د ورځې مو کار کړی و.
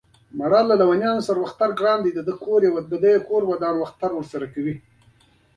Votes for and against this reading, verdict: 1, 2, rejected